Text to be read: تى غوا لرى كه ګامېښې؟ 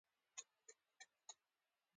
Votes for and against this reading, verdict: 0, 2, rejected